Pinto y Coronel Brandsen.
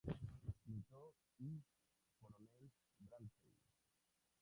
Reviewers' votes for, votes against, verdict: 0, 2, rejected